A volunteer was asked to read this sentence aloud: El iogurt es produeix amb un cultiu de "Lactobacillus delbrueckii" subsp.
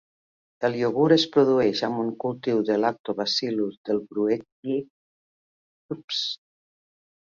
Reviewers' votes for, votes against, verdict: 0, 2, rejected